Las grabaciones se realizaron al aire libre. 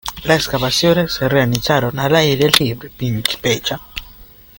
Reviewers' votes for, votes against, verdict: 0, 2, rejected